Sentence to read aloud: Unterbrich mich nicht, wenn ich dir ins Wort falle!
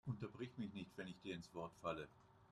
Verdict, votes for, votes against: rejected, 0, 2